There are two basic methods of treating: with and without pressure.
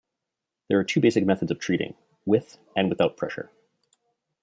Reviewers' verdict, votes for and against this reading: accepted, 2, 0